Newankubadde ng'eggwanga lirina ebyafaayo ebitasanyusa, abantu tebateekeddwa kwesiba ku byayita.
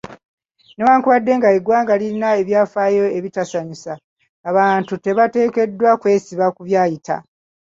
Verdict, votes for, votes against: accepted, 2, 1